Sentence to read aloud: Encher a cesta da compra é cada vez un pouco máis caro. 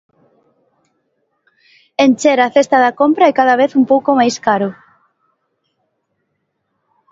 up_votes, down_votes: 2, 1